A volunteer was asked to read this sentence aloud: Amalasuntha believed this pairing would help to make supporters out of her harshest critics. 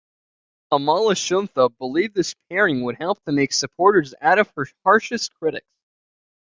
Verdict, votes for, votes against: accepted, 2, 1